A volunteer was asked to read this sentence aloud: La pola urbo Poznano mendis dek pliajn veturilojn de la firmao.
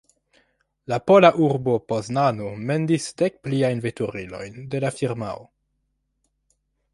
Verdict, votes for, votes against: accepted, 2, 0